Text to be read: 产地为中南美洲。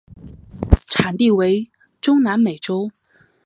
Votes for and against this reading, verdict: 2, 0, accepted